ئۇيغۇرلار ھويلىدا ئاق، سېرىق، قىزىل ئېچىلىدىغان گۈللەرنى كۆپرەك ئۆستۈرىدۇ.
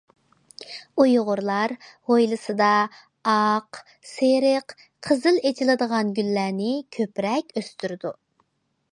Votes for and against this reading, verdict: 0, 2, rejected